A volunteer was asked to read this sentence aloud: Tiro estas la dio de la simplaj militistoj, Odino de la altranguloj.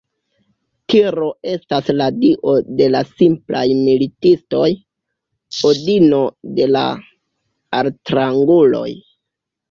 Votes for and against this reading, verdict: 1, 2, rejected